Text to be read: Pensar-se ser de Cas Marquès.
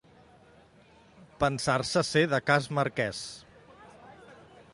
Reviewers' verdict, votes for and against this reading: accepted, 3, 0